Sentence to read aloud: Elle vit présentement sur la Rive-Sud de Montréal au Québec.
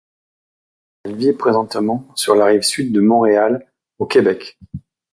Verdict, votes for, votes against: accepted, 2, 0